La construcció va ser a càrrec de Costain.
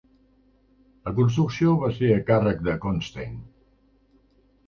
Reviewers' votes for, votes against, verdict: 2, 1, accepted